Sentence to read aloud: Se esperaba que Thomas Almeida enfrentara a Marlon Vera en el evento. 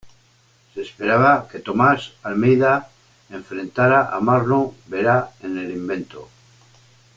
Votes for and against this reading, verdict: 1, 2, rejected